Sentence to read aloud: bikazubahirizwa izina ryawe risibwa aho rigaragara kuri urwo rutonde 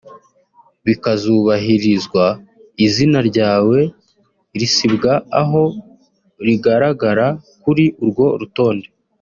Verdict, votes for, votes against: accepted, 2, 0